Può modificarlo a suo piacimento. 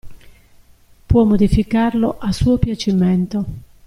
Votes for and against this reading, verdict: 2, 0, accepted